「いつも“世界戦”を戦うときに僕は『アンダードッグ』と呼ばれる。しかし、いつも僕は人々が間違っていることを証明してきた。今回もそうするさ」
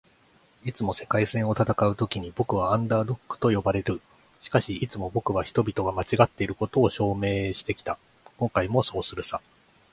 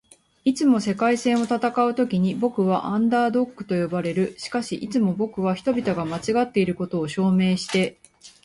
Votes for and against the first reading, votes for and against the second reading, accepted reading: 3, 2, 2, 4, first